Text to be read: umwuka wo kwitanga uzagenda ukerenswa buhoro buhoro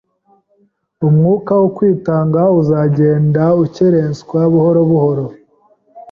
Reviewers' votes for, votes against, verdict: 2, 0, accepted